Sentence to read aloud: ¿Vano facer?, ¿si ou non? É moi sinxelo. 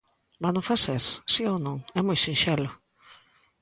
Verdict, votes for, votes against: accepted, 2, 0